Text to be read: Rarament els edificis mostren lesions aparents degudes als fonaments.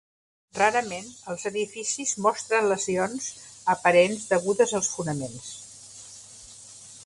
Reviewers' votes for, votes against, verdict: 3, 0, accepted